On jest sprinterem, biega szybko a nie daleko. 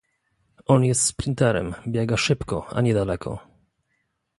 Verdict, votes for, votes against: accepted, 2, 0